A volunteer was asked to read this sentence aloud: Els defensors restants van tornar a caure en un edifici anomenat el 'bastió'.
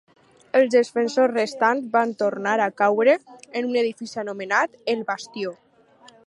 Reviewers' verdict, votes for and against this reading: accepted, 4, 0